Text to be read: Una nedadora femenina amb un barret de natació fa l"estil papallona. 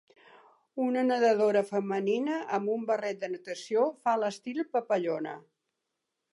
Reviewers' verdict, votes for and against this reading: accepted, 2, 0